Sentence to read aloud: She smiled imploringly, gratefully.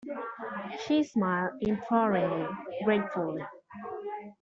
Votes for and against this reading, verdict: 1, 2, rejected